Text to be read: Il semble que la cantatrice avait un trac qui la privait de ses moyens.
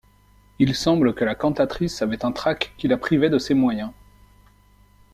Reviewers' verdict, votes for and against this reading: accepted, 2, 1